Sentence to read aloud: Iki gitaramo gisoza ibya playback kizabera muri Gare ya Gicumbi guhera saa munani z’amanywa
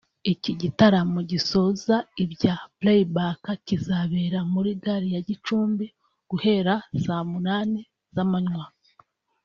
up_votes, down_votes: 2, 0